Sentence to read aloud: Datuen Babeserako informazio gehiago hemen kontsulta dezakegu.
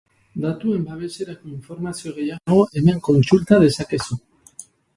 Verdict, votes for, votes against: rejected, 0, 2